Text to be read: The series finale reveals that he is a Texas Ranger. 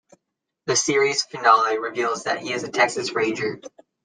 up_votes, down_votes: 2, 0